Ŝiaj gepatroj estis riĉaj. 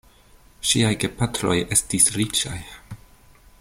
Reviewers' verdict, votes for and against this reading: accepted, 2, 0